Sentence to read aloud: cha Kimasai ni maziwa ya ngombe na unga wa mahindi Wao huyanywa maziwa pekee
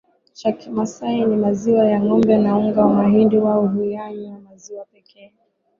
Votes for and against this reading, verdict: 0, 4, rejected